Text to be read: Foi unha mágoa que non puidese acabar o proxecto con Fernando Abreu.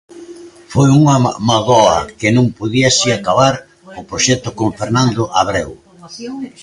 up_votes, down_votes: 0, 3